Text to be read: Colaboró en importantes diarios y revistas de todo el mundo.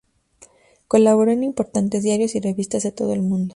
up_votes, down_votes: 2, 0